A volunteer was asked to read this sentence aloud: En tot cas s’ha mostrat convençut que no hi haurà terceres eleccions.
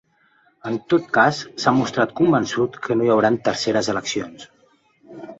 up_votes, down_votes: 2, 1